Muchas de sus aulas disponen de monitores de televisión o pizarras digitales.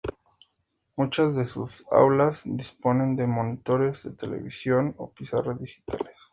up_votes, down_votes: 2, 0